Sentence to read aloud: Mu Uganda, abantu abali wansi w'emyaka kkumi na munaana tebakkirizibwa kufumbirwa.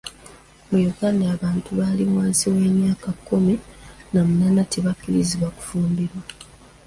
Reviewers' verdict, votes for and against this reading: rejected, 0, 2